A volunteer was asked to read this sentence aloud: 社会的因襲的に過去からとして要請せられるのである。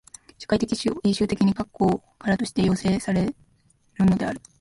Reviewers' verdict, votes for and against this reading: accepted, 2, 1